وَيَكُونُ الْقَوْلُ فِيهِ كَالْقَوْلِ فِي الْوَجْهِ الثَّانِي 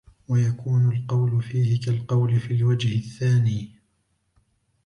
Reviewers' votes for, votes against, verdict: 0, 2, rejected